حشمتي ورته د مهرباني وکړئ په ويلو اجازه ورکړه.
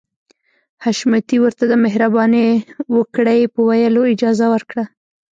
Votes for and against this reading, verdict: 0, 2, rejected